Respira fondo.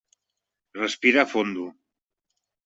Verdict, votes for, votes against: accepted, 2, 0